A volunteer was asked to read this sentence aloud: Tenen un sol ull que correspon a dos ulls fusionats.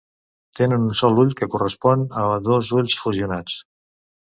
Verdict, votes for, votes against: accepted, 2, 0